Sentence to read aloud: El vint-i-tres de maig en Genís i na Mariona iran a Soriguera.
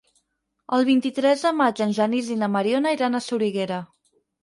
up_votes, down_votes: 8, 0